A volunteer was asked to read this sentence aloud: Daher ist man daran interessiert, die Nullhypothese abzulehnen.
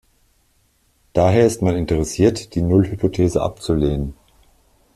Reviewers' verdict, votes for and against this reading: rejected, 0, 2